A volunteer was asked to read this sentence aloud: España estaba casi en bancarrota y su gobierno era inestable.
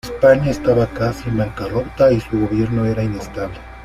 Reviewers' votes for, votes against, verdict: 2, 0, accepted